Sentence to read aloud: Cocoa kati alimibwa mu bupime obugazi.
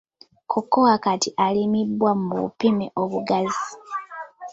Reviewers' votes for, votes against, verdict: 2, 0, accepted